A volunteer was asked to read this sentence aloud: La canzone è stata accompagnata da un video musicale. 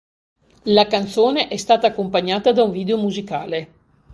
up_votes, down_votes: 2, 0